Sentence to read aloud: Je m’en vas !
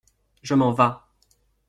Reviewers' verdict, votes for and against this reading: accepted, 2, 0